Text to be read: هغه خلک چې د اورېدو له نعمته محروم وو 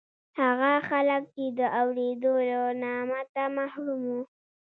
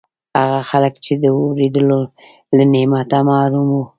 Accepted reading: second